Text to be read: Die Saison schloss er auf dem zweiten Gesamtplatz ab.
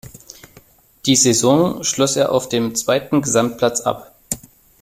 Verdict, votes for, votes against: accepted, 2, 0